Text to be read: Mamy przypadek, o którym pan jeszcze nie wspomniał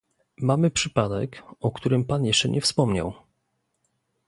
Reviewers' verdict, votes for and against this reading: accepted, 2, 0